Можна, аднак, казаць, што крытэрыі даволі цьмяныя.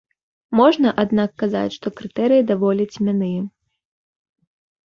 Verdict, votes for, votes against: rejected, 0, 2